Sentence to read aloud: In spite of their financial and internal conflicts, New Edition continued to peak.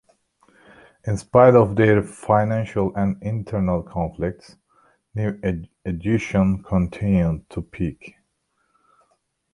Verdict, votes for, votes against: rejected, 0, 2